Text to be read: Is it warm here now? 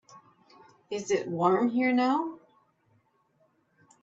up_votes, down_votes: 2, 0